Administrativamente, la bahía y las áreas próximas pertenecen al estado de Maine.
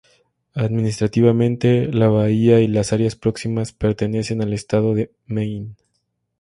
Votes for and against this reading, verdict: 4, 0, accepted